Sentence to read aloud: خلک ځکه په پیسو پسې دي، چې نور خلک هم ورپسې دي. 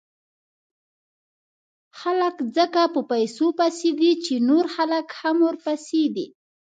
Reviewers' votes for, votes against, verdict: 2, 0, accepted